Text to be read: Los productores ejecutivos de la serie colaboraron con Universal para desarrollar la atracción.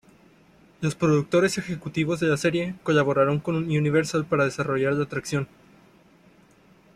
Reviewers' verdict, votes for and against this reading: rejected, 0, 2